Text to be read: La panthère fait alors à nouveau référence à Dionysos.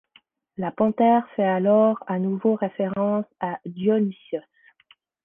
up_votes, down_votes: 1, 2